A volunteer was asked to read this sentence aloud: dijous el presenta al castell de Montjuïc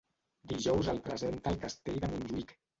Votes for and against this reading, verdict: 1, 2, rejected